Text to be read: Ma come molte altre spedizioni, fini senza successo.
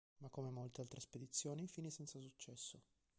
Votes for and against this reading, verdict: 2, 1, accepted